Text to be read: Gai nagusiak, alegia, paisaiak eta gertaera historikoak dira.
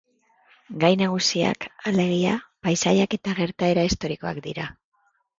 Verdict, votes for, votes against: accepted, 2, 0